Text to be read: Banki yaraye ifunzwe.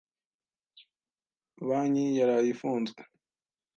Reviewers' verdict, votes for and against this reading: accepted, 2, 0